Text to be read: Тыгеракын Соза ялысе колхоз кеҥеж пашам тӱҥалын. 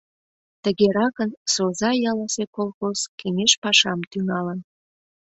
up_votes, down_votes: 2, 0